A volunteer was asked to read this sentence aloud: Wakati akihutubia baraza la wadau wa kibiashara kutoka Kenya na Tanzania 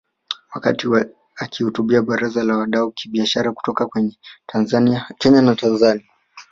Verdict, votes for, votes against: rejected, 1, 2